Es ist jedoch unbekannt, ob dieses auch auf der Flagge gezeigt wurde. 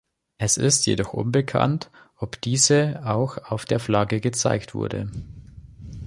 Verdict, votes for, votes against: rejected, 0, 2